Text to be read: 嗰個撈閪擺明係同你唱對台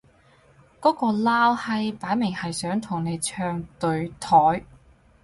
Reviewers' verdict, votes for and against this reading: rejected, 2, 2